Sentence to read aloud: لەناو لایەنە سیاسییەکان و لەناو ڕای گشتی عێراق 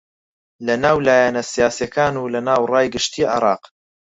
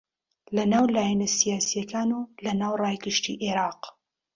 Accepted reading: second